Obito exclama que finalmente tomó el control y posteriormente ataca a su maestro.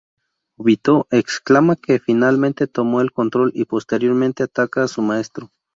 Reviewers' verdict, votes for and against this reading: rejected, 0, 2